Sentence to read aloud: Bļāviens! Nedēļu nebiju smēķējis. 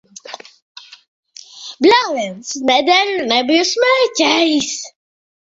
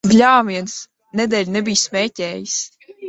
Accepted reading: first